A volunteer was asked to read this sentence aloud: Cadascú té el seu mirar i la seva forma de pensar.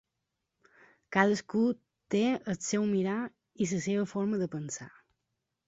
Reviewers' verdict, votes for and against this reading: rejected, 0, 2